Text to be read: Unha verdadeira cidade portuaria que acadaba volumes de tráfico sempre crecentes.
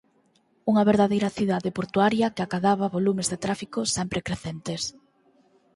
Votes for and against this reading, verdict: 4, 0, accepted